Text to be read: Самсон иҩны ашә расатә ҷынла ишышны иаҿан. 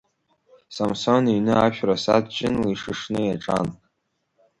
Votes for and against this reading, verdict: 3, 1, accepted